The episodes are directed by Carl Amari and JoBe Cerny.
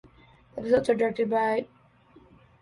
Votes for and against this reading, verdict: 0, 2, rejected